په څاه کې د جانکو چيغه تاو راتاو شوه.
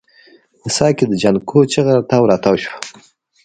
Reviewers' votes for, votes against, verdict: 2, 0, accepted